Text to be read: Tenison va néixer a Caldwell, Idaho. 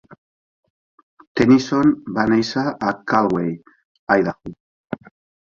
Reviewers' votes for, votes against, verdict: 2, 0, accepted